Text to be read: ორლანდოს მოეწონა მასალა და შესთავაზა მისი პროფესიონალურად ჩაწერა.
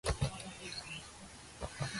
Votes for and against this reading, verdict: 0, 2, rejected